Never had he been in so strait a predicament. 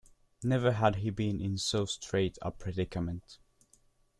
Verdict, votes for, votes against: accepted, 2, 0